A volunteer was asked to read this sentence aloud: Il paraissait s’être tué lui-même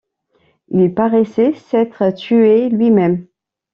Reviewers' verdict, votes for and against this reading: accepted, 2, 0